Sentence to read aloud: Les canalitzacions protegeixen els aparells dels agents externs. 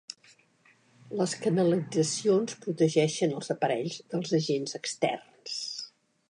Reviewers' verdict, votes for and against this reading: accepted, 2, 0